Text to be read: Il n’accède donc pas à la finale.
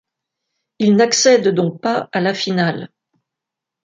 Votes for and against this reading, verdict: 2, 1, accepted